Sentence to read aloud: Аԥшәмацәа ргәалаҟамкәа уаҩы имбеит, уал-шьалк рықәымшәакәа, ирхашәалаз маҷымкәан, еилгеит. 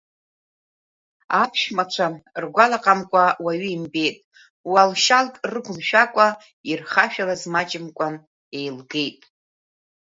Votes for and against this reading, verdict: 1, 2, rejected